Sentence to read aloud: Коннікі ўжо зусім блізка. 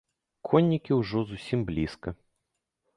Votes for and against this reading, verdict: 2, 0, accepted